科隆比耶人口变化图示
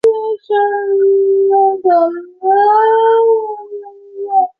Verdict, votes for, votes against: rejected, 0, 4